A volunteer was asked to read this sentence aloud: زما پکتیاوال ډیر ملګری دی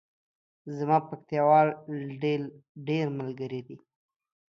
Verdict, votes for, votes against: rejected, 0, 2